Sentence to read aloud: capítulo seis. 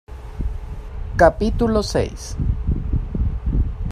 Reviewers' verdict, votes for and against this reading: accepted, 2, 0